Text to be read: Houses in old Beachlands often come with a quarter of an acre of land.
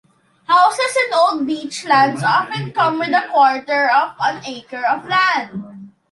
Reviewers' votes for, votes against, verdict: 2, 0, accepted